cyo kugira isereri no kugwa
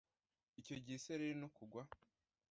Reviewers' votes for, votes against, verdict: 0, 2, rejected